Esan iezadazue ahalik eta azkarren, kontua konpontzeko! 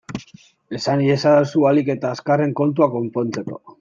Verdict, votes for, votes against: rejected, 1, 2